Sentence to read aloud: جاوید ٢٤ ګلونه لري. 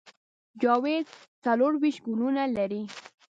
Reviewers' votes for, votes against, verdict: 0, 2, rejected